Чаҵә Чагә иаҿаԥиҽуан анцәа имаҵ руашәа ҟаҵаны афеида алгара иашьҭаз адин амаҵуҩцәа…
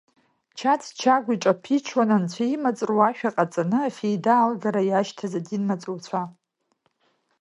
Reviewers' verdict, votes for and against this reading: accepted, 2, 1